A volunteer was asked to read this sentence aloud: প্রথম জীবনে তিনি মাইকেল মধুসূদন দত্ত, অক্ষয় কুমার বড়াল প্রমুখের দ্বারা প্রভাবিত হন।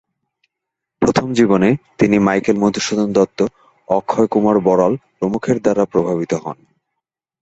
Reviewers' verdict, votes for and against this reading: rejected, 0, 3